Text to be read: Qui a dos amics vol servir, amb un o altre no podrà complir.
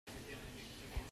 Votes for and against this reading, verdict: 0, 2, rejected